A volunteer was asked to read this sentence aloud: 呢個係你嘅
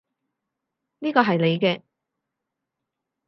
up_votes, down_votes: 4, 0